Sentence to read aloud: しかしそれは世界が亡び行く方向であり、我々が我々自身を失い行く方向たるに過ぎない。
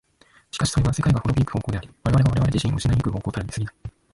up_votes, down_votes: 0, 2